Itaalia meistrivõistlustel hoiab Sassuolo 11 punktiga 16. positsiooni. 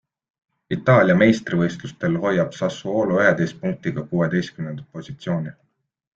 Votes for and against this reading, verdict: 0, 2, rejected